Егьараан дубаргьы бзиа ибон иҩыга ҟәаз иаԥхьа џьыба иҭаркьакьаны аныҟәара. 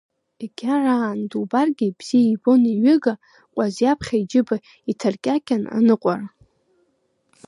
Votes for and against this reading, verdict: 1, 2, rejected